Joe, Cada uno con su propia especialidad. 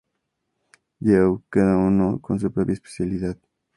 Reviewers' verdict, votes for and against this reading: accepted, 4, 0